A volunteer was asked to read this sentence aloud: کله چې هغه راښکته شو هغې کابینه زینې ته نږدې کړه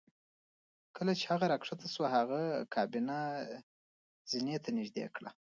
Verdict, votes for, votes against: rejected, 0, 2